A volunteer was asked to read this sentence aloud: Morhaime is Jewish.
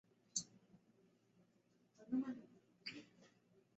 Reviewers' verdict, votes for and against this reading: rejected, 0, 3